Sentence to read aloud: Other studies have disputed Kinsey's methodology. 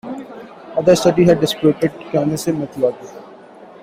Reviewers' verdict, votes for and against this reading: rejected, 1, 2